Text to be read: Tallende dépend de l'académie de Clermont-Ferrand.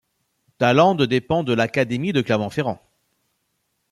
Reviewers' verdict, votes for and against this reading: accepted, 2, 0